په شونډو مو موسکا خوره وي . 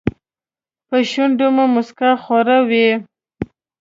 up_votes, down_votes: 2, 0